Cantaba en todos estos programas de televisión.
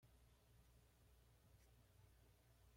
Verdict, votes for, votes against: rejected, 1, 2